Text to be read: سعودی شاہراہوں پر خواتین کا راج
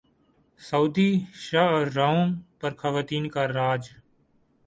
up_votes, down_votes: 2, 2